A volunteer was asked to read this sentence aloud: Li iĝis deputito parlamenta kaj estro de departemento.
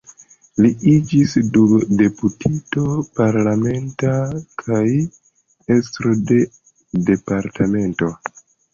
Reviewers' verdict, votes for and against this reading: rejected, 0, 2